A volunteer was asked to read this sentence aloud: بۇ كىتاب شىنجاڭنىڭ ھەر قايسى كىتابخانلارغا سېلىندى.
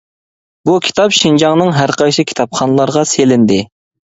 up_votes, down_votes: 2, 0